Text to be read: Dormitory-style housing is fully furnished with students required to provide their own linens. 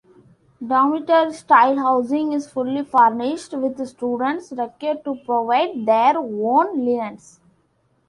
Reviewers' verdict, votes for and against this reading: rejected, 0, 2